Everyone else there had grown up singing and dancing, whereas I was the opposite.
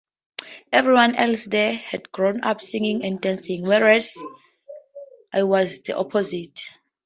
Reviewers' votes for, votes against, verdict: 4, 0, accepted